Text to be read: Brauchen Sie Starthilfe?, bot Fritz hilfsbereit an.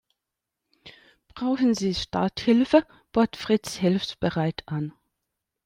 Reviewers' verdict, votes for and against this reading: rejected, 1, 2